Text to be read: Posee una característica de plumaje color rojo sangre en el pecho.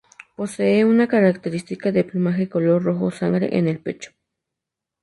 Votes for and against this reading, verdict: 2, 0, accepted